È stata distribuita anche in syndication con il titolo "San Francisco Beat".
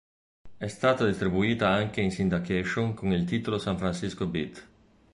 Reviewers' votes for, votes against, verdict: 1, 2, rejected